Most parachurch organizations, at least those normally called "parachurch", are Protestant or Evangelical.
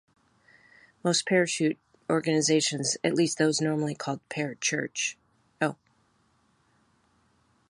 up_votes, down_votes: 0, 2